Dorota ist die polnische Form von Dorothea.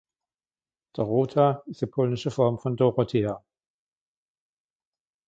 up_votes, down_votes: 2, 0